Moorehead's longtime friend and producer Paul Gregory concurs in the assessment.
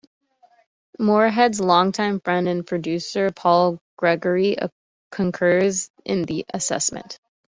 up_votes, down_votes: 2, 0